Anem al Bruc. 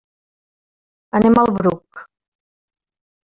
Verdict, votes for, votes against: accepted, 2, 0